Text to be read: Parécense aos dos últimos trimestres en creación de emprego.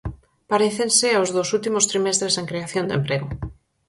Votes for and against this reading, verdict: 4, 0, accepted